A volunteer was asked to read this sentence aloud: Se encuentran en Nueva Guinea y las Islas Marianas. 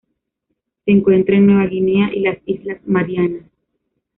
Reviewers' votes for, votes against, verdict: 2, 1, accepted